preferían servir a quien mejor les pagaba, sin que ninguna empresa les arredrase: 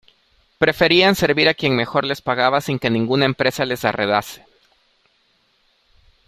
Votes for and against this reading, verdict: 0, 2, rejected